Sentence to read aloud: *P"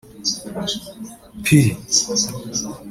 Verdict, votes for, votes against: rejected, 1, 2